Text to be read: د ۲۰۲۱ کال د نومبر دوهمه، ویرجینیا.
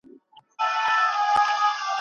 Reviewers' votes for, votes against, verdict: 0, 2, rejected